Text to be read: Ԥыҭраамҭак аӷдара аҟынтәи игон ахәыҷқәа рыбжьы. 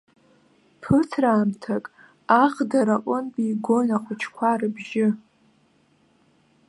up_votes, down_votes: 2, 0